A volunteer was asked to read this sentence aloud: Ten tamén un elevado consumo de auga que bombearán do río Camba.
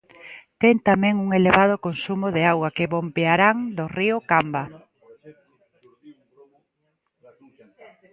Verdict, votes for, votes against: accepted, 2, 0